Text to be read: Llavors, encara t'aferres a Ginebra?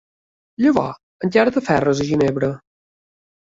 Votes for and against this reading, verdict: 0, 2, rejected